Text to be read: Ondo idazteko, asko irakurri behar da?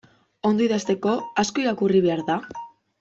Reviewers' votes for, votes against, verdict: 2, 0, accepted